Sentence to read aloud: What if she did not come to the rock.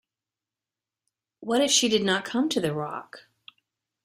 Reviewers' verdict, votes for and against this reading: accepted, 2, 0